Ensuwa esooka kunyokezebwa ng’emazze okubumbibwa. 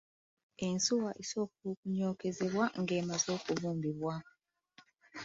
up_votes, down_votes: 2, 0